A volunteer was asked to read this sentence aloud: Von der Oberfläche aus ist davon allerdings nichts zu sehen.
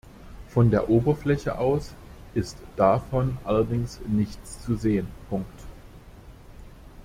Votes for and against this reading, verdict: 1, 2, rejected